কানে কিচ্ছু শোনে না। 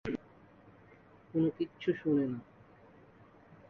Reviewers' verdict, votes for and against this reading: rejected, 2, 2